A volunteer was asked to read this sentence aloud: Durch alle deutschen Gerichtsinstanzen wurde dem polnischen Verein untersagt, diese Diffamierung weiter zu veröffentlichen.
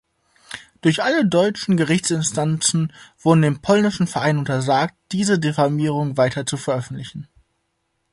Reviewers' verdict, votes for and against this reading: rejected, 0, 2